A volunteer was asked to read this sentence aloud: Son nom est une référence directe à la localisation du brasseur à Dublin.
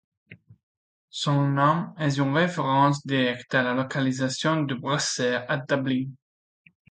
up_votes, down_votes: 1, 2